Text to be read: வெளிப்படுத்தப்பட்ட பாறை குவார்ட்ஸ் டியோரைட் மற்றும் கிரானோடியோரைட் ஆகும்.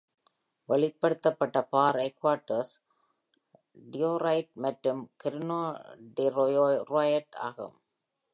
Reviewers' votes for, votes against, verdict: 0, 2, rejected